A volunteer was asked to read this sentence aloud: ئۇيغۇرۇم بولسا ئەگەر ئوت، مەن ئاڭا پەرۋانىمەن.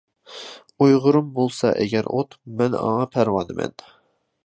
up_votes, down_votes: 2, 0